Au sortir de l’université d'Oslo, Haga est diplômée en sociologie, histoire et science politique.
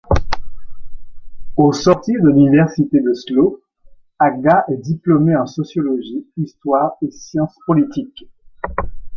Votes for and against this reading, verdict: 2, 0, accepted